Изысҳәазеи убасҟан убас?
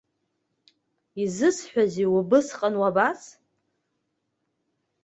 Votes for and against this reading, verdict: 1, 2, rejected